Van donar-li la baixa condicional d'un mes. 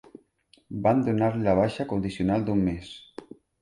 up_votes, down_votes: 2, 1